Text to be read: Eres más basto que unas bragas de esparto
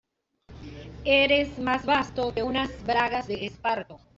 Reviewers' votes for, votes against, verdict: 0, 2, rejected